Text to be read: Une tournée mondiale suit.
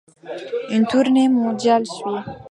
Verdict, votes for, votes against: accepted, 2, 0